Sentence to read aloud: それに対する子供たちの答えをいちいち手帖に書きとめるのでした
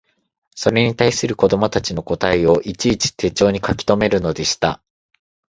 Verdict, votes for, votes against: accepted, 2, 0